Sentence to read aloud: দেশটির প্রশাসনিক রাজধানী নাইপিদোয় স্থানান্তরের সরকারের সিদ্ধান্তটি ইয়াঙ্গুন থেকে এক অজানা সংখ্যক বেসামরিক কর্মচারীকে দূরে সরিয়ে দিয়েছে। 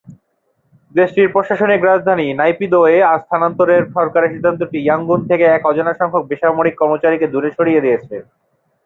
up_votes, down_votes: 2, 0